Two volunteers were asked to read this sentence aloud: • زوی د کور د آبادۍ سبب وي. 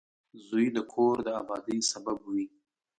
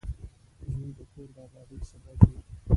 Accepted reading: first